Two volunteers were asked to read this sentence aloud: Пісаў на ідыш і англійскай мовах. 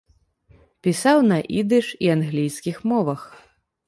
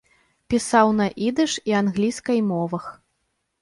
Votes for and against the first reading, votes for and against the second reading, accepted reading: 1, 2, 2, 0, second